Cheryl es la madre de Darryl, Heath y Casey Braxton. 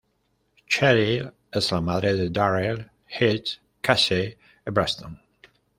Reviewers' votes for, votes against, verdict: 1, 2, rejected